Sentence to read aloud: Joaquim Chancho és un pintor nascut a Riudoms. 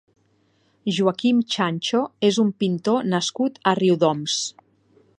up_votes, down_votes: 4, 0